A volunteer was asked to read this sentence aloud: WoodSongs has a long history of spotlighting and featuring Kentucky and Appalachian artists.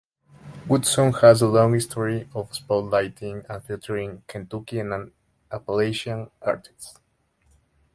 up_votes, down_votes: 0, 2